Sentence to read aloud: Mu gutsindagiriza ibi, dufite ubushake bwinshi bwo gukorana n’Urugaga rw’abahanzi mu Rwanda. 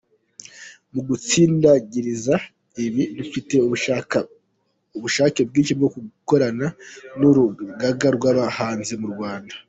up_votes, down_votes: 1, 2